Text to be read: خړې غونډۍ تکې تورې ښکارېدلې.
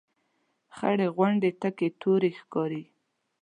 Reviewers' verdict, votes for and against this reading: rejected, 2, 4